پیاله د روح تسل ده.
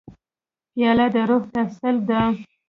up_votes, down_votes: 2, 1